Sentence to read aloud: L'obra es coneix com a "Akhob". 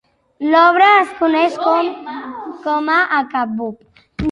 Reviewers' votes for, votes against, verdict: 0, 2, rejected